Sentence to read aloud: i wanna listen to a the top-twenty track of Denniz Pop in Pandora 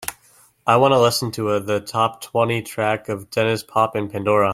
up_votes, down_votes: 3, 0